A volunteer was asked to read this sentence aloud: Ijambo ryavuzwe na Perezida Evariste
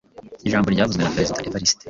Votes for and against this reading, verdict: 2, 0, accepted